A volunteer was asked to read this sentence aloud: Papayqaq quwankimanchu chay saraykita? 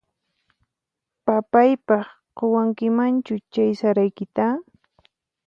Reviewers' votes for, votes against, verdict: 4, 0, accepted